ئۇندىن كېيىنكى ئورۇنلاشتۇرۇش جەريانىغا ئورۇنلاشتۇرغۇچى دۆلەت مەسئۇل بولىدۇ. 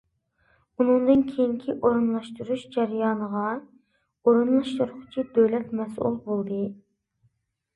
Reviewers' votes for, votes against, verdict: 1, 2, rejected